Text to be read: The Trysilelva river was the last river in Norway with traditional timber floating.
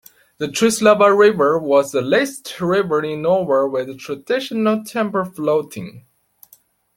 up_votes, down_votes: 2, 3